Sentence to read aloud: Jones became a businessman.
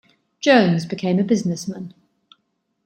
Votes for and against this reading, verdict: 2, 0, accepted